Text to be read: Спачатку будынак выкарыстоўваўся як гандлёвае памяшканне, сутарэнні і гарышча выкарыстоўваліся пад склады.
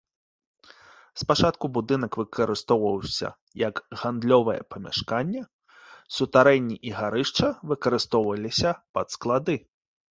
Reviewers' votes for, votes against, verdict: 2, 0, accepted